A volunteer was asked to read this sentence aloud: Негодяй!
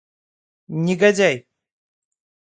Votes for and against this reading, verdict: 2, 0, accepted